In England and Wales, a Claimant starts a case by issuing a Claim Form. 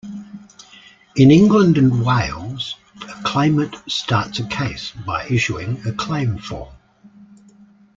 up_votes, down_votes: 2, 0